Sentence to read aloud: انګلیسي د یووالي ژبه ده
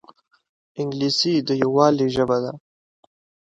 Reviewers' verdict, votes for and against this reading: accepted, 2, 0